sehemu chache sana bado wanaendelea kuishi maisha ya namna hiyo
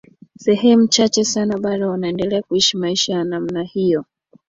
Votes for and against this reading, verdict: 2, 1, accepted